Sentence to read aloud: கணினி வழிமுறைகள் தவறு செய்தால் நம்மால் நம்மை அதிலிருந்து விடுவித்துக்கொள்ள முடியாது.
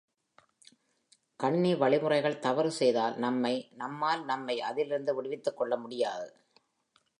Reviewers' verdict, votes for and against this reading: rejected, 0, 2